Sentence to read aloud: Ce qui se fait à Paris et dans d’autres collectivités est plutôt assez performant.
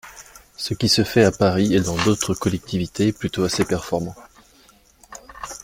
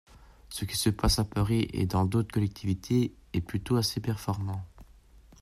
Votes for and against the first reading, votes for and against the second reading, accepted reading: 2, 0, 0, 2, first